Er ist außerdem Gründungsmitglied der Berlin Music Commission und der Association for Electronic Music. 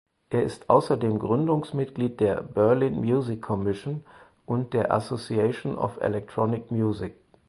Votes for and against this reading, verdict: 0, 4, rejected